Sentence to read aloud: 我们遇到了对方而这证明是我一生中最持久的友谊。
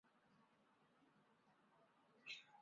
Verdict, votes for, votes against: rejected, 0, 3